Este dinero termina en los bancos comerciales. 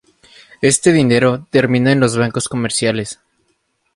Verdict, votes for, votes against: rejected, 0, 2